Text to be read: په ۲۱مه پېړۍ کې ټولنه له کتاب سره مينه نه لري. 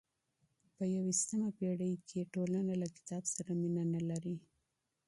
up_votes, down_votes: 0, 2